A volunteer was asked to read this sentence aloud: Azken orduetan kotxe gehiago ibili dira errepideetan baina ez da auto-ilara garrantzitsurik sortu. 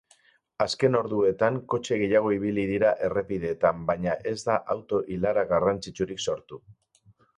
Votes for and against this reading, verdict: 2, 0, accepted